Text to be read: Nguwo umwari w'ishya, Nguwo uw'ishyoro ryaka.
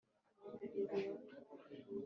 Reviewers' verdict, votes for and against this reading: rejected, 1, 2